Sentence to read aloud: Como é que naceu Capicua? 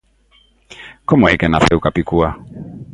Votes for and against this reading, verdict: 2, 0, accepted